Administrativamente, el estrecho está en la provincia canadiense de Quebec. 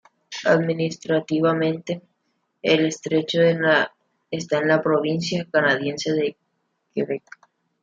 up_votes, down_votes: 1, 2